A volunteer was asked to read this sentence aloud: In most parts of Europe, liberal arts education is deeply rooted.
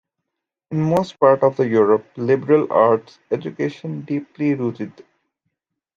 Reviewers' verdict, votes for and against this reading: rejected, 0, 2